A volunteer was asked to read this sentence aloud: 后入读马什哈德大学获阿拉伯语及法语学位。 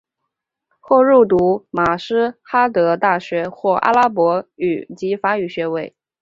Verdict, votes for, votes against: accepted, 4, 0